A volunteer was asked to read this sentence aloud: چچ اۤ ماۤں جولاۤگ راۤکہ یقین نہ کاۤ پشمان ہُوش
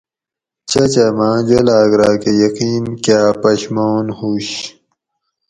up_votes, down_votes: 0, 4